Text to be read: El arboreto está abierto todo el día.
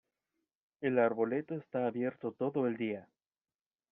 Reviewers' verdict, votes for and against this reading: accepted, 2, 0